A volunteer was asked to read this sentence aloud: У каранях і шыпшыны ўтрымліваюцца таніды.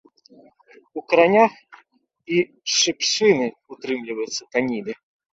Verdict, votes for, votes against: accepted, 2, 0